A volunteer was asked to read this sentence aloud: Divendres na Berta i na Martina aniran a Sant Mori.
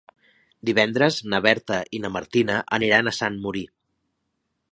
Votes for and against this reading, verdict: 0, 2, rejected